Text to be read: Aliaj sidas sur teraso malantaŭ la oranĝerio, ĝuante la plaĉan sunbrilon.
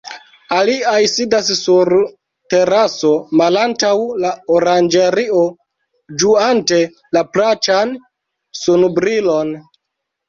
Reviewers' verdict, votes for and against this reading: accepted, 2, 1